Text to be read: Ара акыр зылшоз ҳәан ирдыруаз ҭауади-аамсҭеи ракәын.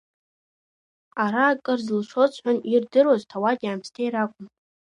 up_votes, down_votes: 2, 1